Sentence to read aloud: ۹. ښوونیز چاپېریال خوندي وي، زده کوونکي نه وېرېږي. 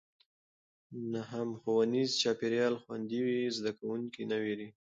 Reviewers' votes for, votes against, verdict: 0, 2, rejected